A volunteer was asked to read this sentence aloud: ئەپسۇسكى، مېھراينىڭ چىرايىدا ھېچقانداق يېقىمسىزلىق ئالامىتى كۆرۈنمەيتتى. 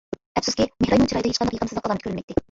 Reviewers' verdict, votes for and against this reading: rejected, 0, 2